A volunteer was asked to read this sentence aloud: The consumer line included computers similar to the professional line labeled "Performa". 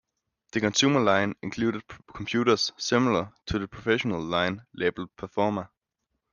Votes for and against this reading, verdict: 0, 2, rejected